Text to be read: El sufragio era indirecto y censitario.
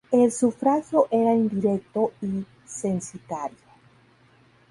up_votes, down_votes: 4, 0